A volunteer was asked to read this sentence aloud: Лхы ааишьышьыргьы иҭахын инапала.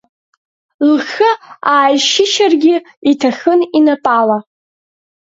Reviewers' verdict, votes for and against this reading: rejected, 1, 3